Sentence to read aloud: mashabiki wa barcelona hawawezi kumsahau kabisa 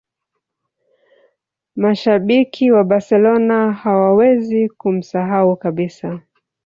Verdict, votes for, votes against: rejected, 0, 2